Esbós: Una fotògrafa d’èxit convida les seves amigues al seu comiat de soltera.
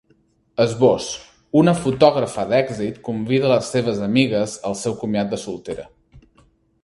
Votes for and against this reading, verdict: 2, 0, accepted